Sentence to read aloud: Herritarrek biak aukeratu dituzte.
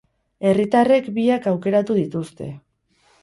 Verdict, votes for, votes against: rejected, 2, 2